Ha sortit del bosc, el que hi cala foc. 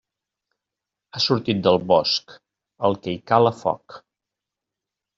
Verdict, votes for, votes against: accepted, 2, 0